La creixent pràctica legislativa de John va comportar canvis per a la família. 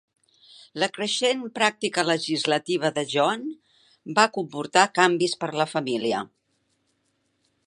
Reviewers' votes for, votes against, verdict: 3, 1, accepted